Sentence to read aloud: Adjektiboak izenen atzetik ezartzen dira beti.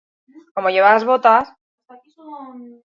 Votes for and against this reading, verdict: 0, 6, rejected